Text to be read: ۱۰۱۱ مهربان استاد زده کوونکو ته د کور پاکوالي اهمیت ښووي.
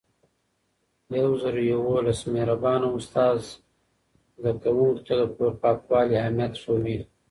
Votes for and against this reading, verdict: 0, 2, rejected